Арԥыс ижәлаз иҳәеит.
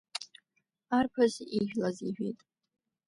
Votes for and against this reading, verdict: 2, 1, accepted